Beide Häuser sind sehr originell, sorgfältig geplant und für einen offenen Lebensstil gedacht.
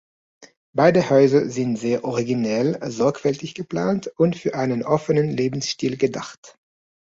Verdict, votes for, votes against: accepted, 3, 0